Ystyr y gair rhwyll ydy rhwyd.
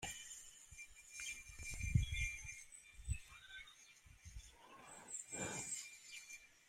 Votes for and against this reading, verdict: 0, 2, rejected